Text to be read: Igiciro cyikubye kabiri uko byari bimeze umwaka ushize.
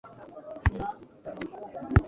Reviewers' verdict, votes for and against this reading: rejected, 1, 2